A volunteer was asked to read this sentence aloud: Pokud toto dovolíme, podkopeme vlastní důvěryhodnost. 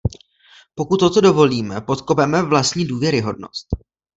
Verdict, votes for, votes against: rejected, 0, 2